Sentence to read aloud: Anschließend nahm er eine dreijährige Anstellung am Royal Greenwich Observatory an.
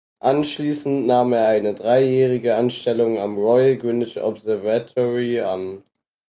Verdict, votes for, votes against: rejected, 2, 4